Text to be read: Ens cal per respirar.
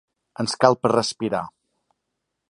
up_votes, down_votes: 5, 0